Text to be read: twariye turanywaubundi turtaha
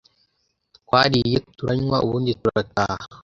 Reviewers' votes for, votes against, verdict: 2, 0, accepted